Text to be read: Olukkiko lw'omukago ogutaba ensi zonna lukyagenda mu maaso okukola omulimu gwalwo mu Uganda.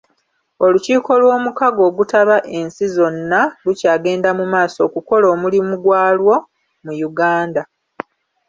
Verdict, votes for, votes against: accepted, 2, 0